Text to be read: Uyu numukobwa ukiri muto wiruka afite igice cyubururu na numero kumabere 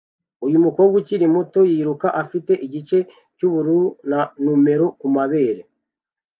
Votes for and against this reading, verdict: 0, 2, rejected